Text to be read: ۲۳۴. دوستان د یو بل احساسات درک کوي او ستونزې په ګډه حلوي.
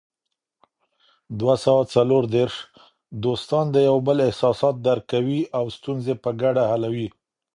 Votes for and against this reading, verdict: 0, 2, rejected